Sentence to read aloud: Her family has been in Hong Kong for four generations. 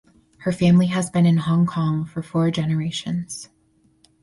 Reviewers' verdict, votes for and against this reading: accepted, 4, 0